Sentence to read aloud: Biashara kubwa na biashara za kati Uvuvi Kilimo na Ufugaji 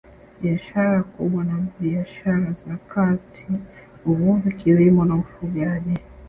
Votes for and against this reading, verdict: 0, 2, rejected